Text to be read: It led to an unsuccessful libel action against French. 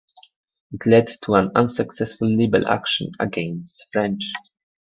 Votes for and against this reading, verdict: 2, 0, accepted